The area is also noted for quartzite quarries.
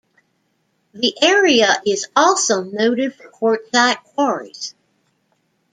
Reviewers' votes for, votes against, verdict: 0, 2, rejected